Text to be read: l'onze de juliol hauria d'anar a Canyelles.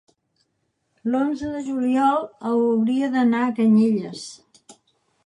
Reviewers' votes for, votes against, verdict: 2, 3, rejected